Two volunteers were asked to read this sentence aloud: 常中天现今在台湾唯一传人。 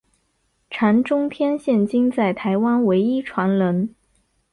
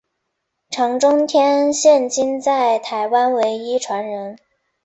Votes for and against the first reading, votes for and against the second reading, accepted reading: 2, 2, 2, 0, second